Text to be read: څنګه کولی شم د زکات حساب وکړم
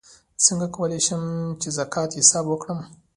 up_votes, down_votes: 0, 2